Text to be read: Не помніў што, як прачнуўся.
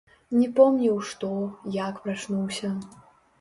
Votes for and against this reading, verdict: 0, 2, rejected